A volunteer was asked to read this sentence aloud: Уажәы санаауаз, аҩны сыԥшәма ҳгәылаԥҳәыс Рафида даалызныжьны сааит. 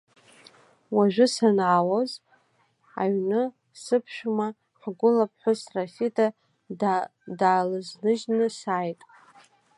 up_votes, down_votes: 1, 2